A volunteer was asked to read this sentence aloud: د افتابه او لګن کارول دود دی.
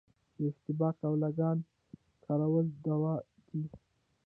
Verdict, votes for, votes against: rejected, 1, 2